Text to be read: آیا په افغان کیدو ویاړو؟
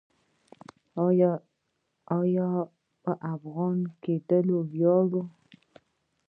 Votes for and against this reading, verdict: 0, 2, rejected